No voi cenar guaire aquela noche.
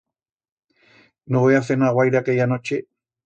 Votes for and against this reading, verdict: 1, 2, rejected